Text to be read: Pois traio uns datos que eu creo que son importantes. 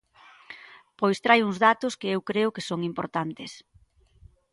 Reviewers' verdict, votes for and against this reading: accepted, 2, 0